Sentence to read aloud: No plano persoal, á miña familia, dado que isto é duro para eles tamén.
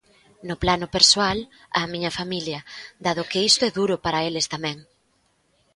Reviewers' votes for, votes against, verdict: 2, 0, accepted